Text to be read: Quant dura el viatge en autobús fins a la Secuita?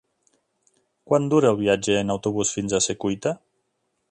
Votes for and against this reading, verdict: 1, 2, rejected